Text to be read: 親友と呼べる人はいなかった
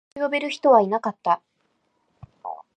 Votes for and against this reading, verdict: 0, 2, rejected